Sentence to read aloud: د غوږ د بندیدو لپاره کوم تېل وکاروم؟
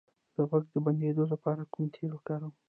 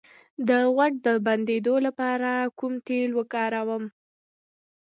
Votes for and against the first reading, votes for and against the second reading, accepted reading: 0, 2, 2, 1, second